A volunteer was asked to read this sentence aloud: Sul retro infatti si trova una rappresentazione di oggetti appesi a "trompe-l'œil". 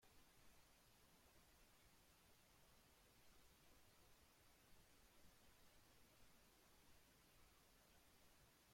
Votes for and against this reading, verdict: 0, 2, rejected